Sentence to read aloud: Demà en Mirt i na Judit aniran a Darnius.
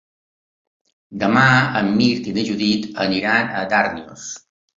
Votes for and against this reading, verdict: 2, 0, accepted